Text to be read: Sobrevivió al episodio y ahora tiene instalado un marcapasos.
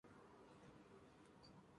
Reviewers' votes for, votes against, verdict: 0, 2, rejected